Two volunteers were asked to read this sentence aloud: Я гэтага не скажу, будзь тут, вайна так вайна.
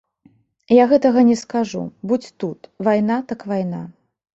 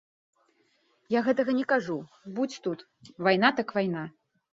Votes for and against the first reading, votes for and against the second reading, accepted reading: 2, 0, 1, 2, first